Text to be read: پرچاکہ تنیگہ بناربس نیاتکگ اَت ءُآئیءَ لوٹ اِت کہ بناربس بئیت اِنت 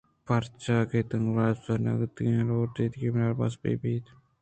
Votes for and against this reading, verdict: 2, 0, accepted